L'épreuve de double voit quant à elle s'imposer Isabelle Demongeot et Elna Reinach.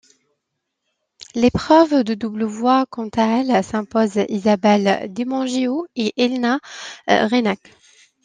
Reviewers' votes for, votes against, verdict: 1, 2, rejected